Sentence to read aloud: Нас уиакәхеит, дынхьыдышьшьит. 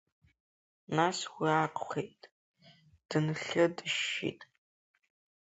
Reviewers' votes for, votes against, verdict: 1, 2, rejected